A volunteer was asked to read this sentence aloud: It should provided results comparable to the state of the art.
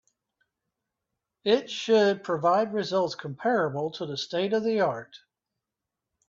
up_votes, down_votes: 1, 2